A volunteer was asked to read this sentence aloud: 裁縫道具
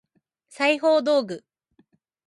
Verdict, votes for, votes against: accepted, 2, 0